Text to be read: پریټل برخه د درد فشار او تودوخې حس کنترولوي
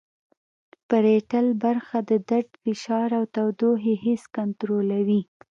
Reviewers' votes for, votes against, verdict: 2, 1, accepted